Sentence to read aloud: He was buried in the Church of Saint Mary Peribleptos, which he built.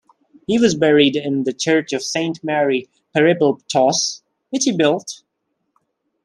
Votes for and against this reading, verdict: 0, 2, rejected